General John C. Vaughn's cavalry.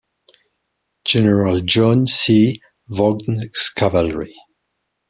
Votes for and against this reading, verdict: 0, 2, rejected